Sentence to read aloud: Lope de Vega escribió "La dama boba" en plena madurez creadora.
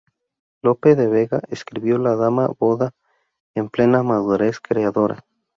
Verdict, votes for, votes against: rejected, 0, 2